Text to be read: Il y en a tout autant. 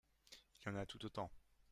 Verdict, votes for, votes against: rejected, 1, 2